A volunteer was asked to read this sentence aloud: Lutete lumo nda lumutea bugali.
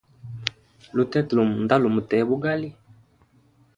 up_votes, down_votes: 2, 0